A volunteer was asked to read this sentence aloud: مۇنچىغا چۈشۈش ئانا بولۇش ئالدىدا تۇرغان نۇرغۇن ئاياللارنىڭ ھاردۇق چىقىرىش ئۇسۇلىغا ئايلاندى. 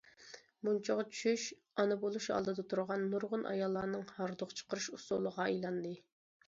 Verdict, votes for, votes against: accepted, 2, 0